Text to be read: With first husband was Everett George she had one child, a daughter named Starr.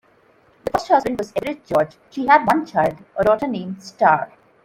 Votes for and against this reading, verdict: 0, 2, rejected